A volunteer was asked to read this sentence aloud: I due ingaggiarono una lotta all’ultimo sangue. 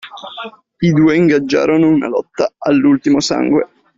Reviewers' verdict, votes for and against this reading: accepted, 2, 1